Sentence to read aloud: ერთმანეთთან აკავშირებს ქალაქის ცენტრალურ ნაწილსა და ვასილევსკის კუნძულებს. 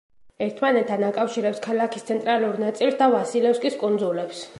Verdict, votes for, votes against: rejected, 1, 2